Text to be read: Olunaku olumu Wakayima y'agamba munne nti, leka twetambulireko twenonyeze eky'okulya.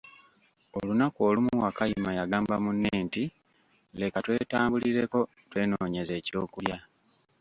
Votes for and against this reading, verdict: 2, 0, accepted